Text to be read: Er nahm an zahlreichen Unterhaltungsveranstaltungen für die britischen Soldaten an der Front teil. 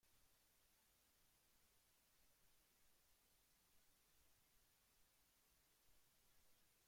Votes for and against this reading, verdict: 0, 2, rejected